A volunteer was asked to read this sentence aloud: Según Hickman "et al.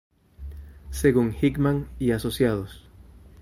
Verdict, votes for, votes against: rejected, 0, 2